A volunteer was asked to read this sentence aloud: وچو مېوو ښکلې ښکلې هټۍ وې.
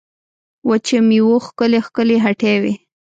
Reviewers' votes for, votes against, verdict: 1, 2, rejected